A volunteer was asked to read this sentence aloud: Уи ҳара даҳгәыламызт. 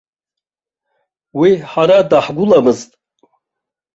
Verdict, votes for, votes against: accepted, 2, 0